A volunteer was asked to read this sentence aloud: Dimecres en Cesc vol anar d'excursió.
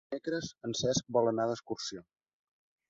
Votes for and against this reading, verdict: 2, 3, rejected